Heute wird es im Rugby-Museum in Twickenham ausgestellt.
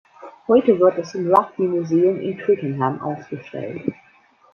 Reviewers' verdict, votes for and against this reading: rejected, 1, 2